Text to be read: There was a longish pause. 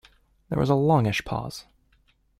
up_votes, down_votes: 2, 0